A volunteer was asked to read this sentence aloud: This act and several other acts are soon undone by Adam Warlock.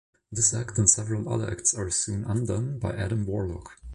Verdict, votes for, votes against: accepted, 2, 0